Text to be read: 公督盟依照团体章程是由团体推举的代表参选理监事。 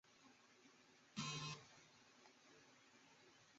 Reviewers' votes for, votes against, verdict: 0, 3, rejected